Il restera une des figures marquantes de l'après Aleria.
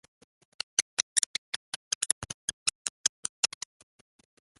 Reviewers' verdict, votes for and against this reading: rejected, 0, 3